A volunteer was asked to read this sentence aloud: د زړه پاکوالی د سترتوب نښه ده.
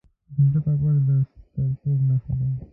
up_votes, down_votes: 1, 2